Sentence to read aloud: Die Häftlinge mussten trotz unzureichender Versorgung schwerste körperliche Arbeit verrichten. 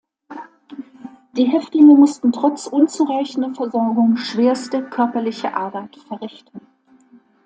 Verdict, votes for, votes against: accepted, 2, 0